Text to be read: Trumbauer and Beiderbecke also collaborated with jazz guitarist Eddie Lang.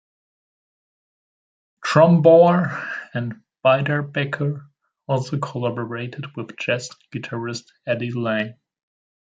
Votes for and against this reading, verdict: 2, 1, accepted